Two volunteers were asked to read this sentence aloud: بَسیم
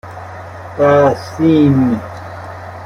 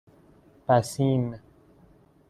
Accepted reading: second